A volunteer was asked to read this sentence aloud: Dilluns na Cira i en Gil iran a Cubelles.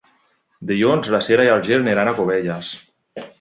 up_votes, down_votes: 2, 1